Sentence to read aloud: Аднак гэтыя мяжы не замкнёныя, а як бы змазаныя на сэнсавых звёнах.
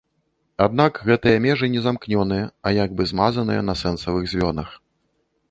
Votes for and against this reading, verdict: 1, 2, rejected